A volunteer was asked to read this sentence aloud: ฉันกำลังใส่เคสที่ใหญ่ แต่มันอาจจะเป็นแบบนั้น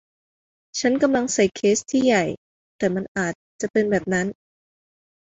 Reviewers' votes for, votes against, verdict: 0, 2, rejected